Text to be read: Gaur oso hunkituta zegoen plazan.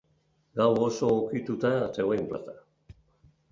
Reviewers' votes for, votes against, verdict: 0, 2, rejected